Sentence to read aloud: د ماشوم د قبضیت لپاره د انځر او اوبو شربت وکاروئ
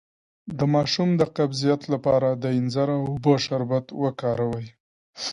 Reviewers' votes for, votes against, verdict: 2, 0, accepted